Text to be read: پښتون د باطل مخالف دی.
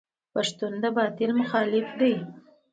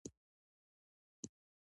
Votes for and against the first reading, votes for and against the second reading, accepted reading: 2, 1, 1, 2, first